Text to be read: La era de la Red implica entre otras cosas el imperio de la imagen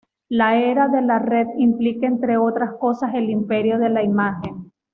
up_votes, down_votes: 2, 0